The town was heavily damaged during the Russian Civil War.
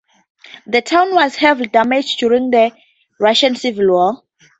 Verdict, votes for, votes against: rejected, 2, 2